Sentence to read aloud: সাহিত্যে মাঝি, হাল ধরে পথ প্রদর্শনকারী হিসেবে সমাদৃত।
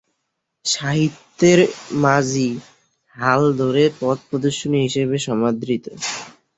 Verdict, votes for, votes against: rejected, 1, 2